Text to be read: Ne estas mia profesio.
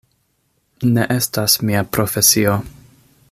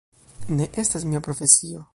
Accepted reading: first